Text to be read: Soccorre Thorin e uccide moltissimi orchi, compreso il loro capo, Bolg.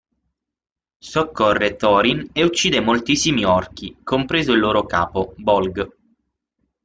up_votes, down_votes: 6, 0